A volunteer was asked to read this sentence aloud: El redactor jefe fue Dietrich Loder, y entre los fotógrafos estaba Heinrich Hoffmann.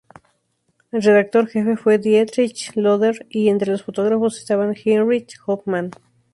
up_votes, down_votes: 0, 2